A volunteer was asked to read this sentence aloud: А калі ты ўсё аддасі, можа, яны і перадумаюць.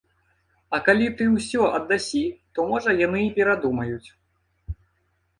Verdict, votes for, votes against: rejected, 0, 2